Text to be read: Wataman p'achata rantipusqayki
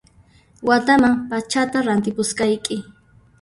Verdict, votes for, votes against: rejected, 0, 2